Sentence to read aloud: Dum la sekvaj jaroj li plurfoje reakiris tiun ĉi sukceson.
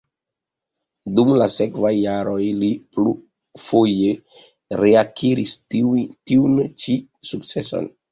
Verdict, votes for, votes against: accepted, 2, 0